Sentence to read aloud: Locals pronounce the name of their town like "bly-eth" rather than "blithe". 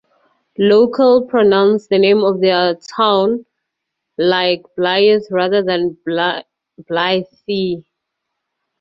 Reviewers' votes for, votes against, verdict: 0, 4, rejected